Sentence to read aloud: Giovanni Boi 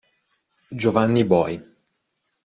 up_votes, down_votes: 2, 0